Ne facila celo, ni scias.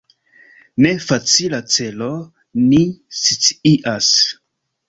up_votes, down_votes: 2, 1